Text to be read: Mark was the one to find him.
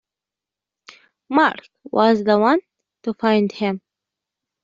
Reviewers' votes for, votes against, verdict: 2, 0, accepted